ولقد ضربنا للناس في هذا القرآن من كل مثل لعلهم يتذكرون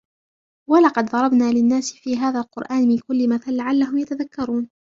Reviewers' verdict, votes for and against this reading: rejected, 1, 2